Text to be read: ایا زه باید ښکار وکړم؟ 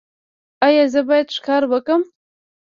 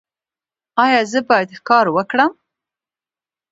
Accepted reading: second